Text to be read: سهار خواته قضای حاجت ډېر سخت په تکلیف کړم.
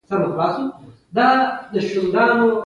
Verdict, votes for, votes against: accepted, 2, 1